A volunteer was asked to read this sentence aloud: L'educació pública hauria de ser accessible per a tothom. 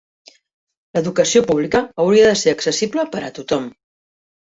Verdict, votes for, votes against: accepted, 4, 0